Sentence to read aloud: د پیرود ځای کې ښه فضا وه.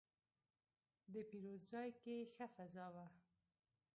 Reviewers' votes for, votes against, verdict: 1, 2, rejected